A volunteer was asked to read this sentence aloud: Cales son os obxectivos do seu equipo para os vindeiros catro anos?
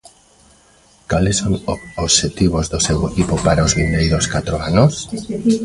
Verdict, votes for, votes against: rejected, 0, 2